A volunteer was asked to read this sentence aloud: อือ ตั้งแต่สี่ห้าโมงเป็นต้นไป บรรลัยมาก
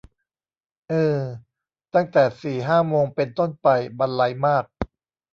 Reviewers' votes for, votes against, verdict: 1, 2, rejected